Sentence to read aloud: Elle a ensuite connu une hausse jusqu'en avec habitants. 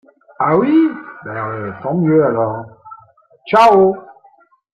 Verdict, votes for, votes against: rejected, 0, 2